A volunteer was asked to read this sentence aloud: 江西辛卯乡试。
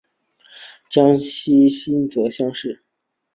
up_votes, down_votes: 0, 4